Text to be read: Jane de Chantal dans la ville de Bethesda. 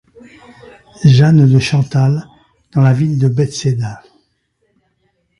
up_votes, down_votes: 1, 2